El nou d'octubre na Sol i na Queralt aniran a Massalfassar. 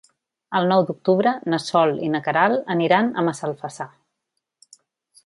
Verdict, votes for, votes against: accepted, 3, 0